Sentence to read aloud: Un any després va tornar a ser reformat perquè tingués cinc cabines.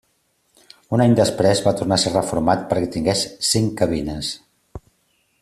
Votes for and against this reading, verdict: 3, 0, accepted